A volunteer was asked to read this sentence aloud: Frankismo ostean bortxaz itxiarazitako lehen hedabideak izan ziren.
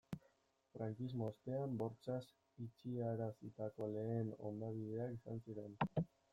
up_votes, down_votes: 1, 2